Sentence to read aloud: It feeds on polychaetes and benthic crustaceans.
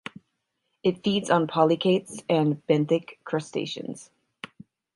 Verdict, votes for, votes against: accepted, 6, 0